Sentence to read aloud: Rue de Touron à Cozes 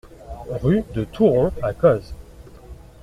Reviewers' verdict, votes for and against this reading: accepted, 2, 0